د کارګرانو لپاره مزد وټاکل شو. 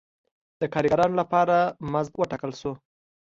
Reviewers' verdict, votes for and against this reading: accepted, 2, 0